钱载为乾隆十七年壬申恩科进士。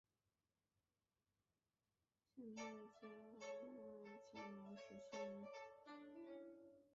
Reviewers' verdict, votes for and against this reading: rejected, 0, 4